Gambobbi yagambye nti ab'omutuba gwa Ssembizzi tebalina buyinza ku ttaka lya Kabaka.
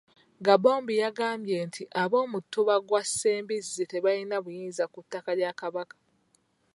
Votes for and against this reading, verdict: 2, 3, rejected